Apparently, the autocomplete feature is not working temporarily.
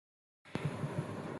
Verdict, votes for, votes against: rejected, 0, 2